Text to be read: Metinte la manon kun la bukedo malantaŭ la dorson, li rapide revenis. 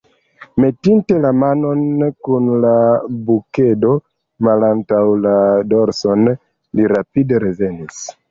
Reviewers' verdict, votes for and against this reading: accepted, 3, 2